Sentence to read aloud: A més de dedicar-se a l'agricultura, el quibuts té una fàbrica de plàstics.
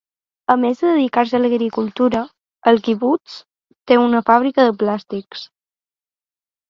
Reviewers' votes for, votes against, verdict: 2, 0, accepted